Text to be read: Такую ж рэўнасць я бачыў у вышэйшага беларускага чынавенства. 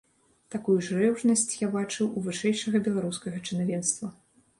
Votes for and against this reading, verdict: 1, 2, rejected